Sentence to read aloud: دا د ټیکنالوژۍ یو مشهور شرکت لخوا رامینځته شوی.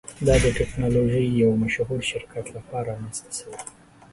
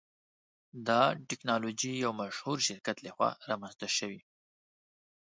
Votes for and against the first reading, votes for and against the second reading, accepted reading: 2, 0, 1, 2, first